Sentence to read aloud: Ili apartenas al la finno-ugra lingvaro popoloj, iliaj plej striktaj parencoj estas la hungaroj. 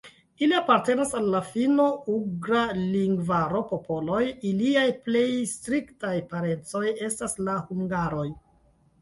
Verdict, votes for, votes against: accepted, 2, 0